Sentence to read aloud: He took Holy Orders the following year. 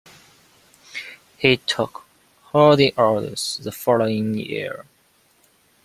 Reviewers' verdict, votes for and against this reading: accepted, 2, 0